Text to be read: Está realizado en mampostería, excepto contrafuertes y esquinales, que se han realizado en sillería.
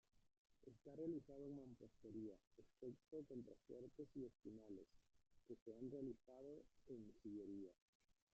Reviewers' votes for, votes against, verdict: 0, 2, rejected